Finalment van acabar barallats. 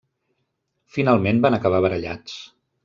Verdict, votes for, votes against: accepted, 3, 0